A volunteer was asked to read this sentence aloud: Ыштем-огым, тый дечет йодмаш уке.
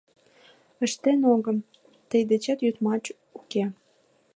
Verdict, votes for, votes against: rejected, 1, 2